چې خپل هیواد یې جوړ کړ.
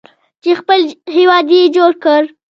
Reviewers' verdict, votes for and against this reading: accepted, 2, 0